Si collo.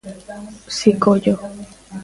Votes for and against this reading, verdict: 2, 1, accepted